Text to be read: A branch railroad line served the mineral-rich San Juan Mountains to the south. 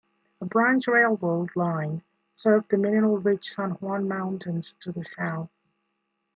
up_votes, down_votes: 2, 0